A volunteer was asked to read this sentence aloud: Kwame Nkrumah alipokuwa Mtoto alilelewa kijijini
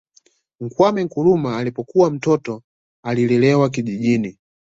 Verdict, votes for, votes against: accepted, 2, 1